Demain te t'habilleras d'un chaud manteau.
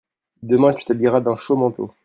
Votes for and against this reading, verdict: 0, 2, rejected